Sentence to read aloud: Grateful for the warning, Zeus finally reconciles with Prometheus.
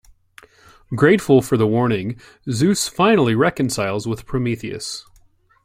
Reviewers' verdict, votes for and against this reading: accepted, 2, 0